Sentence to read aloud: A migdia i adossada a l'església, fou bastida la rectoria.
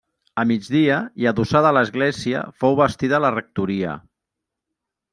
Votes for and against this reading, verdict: 0, 2, rejected